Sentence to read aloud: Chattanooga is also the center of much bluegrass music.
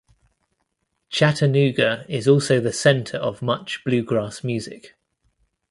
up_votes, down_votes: 2, 0